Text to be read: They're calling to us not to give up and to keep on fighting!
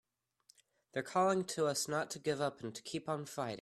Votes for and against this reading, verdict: 2, 0, accepted